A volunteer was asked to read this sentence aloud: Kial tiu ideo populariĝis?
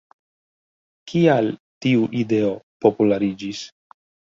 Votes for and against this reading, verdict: 1, 2, rejected